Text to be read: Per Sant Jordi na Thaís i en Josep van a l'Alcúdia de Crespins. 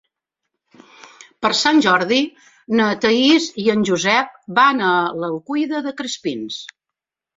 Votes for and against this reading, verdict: 0, 2, rejected